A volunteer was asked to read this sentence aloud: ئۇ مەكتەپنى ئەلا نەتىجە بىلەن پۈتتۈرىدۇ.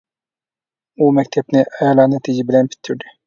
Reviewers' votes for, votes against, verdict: 1, 2, rejected